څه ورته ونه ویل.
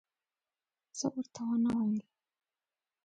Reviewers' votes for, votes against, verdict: 2, 1, accepted